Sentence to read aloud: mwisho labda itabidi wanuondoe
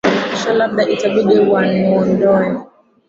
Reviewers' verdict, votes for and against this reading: rejected, 1, 2